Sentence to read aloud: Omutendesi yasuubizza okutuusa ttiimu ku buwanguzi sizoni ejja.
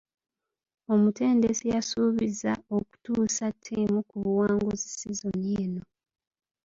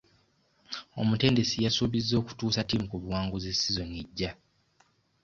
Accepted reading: second